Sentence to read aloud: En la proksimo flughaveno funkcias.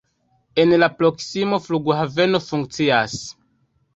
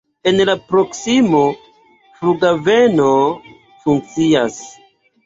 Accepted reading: second